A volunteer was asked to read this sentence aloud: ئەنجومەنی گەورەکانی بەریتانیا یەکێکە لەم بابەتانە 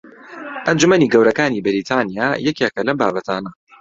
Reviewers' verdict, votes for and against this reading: accepted, 2, 0